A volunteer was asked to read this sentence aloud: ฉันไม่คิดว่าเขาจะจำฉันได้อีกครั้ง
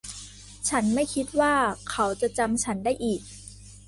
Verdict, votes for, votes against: rejected, 1, 2